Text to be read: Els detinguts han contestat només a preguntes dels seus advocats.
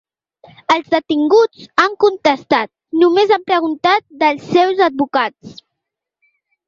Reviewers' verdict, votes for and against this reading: rejected, 0, 2